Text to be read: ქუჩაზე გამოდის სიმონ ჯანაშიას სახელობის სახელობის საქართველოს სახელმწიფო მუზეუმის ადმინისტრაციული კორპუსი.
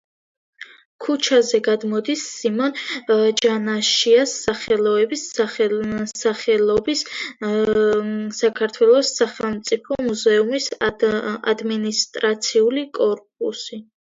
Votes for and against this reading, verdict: 0, 2, rejected